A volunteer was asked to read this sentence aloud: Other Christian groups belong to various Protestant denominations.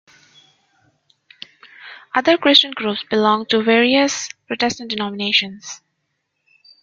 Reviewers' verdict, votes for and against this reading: accepted, 2, 0